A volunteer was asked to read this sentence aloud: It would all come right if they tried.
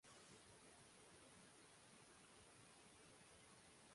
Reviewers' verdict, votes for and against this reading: rejected, 0, 2